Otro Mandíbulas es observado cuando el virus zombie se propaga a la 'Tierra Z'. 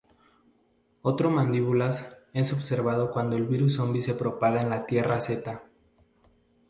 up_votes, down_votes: 0, 2